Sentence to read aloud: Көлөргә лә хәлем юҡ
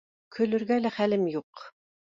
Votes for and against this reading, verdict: 2, 0, accepted